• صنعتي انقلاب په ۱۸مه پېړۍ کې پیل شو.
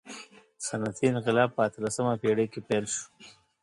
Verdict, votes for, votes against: rejected, 0, 2